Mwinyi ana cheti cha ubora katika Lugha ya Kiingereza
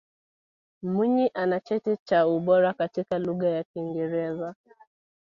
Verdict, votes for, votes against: accepted, 2, 1